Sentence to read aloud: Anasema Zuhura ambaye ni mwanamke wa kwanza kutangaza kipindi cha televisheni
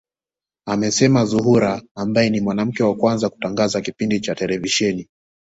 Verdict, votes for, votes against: accepted, 2, 0